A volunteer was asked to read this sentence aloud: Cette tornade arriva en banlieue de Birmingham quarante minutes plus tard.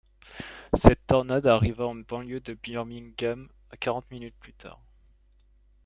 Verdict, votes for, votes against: accepted, 2, 0